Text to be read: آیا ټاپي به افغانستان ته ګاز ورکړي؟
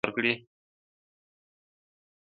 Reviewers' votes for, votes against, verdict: 1, 2, rejected